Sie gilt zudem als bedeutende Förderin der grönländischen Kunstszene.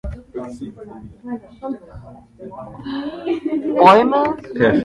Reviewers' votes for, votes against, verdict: 0, 2, rejected